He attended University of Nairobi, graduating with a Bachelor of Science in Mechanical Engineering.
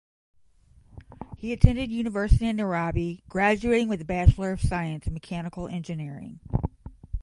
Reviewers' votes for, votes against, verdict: 0, 5, rejected